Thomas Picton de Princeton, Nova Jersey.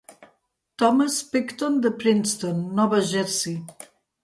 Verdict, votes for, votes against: accepted, 2, 0